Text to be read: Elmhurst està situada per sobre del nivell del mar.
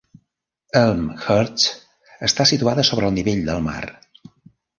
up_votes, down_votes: 0, 2